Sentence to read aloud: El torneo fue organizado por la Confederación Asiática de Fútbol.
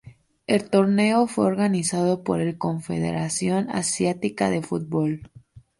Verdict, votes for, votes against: rejected, 0, 2